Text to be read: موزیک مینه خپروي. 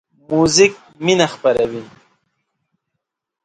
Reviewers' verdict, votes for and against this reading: accepted, 2, 0